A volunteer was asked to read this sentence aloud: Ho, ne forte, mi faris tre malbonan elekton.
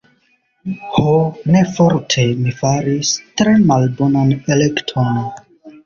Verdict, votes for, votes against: rejected, 0, 2